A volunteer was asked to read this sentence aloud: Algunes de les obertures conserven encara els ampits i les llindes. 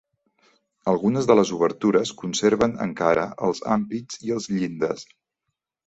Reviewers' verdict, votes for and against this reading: rejected, 0, 2